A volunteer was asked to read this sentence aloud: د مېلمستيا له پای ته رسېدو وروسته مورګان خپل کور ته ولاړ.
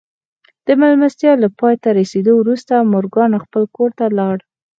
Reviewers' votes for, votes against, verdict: 4, 0, accepted